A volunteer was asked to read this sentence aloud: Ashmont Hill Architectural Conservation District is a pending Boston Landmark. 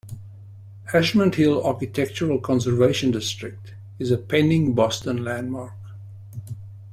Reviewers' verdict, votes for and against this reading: accepted, 2, 0